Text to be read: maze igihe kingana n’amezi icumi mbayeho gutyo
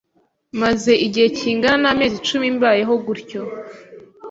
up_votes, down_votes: 2, 0